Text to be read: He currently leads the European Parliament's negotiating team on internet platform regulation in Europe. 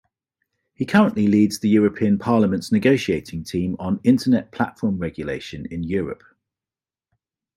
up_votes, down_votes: 1, 2